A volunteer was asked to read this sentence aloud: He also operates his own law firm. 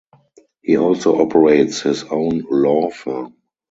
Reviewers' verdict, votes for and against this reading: rejected, 0, 2